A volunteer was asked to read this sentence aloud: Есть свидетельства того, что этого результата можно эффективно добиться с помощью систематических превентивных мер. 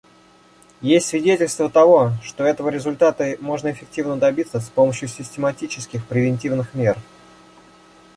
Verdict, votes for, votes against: rejected, 1, 2